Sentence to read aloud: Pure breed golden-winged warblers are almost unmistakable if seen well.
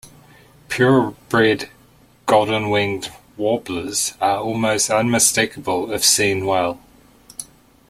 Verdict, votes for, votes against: rejected, 0, 2